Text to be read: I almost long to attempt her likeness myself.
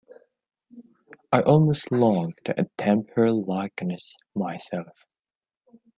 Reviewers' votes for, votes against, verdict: 2, 1, accepted